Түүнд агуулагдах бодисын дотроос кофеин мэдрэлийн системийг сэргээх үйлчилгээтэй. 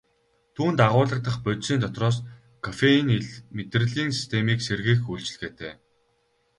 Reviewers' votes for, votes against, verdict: 2, 2, rejected